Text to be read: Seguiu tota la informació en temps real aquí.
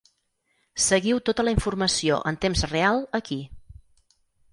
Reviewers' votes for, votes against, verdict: 6, 0, accepted